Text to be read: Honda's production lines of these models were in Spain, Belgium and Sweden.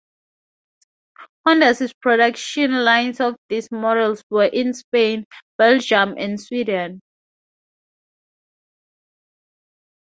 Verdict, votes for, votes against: accepted, 10, 2